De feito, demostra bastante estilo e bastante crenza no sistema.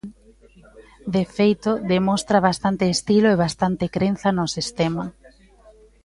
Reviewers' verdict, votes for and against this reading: accepted, 2, 1